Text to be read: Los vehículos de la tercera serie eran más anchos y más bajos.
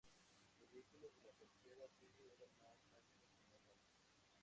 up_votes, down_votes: 0, 4